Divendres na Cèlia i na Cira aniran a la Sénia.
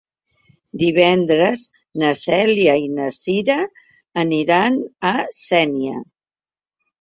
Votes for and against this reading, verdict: 1, 2, rejected